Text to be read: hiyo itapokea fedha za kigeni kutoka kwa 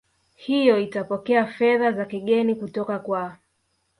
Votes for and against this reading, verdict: 1, 2, rejected